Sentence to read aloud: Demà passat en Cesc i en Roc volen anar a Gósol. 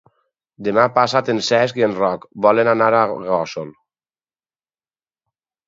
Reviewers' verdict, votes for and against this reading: accepted, 4, 0